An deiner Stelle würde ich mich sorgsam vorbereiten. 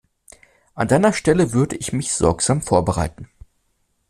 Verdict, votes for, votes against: accepted, 2, 0